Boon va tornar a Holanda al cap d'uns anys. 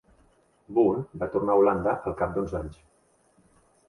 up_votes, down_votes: 0, 2